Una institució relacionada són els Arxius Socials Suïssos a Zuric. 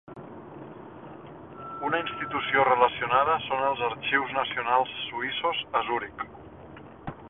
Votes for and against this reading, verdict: 0, 2, rejected